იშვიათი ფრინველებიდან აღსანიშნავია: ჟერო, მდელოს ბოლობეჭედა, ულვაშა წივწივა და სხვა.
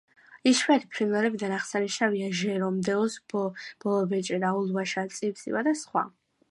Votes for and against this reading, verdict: 1, 2, rejected